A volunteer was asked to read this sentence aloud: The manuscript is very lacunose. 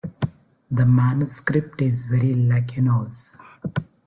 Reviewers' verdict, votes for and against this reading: accepted, 2, 0